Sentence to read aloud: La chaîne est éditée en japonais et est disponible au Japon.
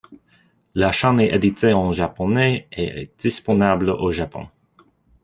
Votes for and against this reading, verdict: 0, 2, rejected